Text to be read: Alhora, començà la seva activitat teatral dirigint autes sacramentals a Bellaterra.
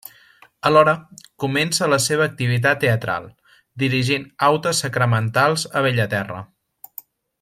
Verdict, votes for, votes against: rejected, 1, 2